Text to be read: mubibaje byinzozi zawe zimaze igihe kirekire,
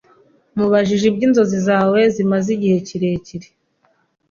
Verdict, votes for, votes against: rejected, 1, 2